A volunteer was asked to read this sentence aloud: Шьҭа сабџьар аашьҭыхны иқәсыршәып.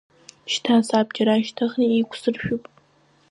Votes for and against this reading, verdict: 1, 2, rejected